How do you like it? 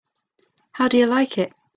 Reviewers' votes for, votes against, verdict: 3, 1, accepted